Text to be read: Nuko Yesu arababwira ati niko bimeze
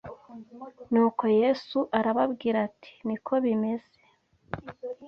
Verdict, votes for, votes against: accepted, 2, 0